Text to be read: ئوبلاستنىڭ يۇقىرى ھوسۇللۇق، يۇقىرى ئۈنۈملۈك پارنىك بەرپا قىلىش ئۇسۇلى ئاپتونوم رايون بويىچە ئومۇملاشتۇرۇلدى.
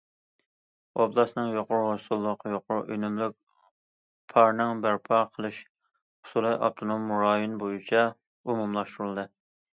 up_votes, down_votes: 1, 2